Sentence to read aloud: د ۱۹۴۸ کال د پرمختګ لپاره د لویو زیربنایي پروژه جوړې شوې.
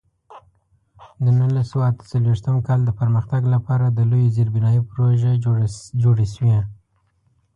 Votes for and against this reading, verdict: 0, 2, rejected